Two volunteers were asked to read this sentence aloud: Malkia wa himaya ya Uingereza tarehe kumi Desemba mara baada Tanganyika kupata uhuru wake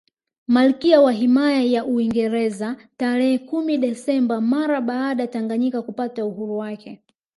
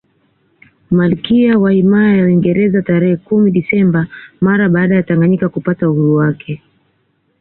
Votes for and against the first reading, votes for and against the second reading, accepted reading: 1, 2, 2, 0, second